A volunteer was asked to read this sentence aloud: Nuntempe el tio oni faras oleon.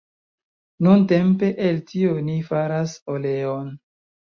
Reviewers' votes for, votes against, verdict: 2, 0, accepted